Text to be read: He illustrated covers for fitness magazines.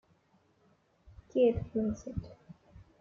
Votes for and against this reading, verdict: 1, 2, rejected